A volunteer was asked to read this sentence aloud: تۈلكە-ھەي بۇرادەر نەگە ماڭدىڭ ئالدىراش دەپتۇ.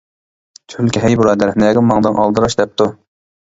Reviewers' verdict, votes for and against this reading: rejected, 1, 2